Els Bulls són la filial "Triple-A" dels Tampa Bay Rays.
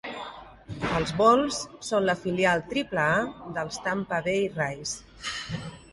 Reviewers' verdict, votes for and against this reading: rejected, 0, 2